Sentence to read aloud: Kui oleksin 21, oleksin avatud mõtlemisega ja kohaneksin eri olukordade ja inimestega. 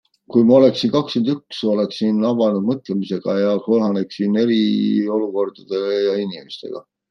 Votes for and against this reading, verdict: 0, 2, rejected